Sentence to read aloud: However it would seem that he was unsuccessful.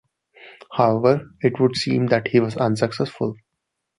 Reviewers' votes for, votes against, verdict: 2, 0, accepted